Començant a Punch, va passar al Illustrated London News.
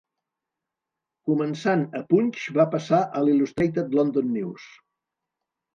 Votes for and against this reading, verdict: 3, 0, accepted